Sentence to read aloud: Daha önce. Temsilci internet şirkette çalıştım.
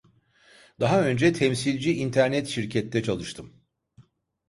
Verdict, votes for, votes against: accepted, 2, 0